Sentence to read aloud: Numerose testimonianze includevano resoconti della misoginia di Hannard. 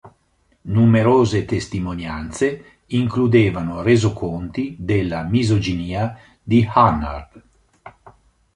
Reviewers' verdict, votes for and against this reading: accepted, 3, 0